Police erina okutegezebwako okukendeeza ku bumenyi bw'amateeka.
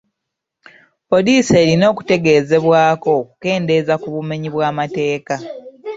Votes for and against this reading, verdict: 2, 0, accepted